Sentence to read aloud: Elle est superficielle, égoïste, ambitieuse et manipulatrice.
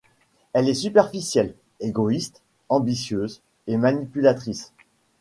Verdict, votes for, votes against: accepted, 2, 0